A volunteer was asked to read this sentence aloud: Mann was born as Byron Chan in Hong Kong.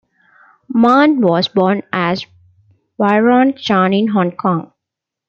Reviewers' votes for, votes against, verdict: 2, 0, accepted